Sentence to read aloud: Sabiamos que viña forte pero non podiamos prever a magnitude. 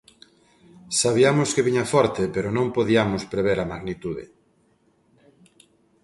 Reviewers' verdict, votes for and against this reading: accepted, 2, 0